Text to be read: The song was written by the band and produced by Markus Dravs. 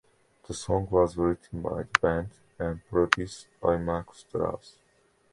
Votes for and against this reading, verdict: 2, 0, accepted